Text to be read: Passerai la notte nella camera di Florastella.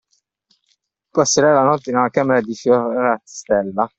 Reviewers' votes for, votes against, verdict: 0, 2, rejected